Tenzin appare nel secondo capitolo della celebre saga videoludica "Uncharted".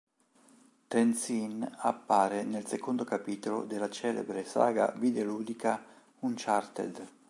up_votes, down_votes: 1, 2